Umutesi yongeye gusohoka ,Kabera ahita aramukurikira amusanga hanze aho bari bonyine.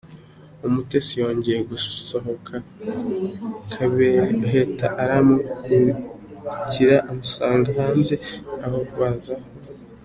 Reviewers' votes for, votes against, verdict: 0, 2, rejected